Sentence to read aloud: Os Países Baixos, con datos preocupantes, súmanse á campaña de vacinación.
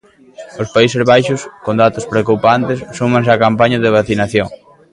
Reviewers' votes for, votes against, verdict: 3, 0, accepted